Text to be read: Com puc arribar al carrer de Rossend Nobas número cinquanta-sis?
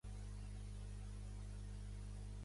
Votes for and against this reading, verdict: 0, 2, rejected